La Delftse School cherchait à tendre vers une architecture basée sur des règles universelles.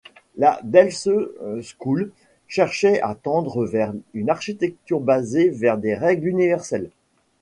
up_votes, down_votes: 2, 1